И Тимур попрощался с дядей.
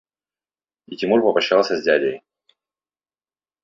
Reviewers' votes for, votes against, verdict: 0, 2, rejected